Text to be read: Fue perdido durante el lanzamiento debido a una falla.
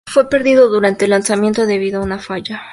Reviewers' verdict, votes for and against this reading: accepted, 2, 0